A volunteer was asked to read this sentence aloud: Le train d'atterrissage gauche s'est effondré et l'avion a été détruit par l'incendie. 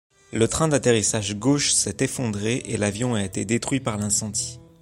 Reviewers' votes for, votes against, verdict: 3, 0, accepted